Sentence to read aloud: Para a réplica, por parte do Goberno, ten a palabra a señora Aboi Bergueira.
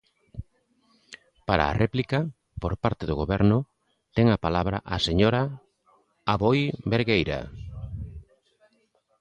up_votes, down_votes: 3, 0